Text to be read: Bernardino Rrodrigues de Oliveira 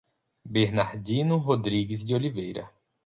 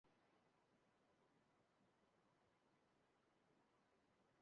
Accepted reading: first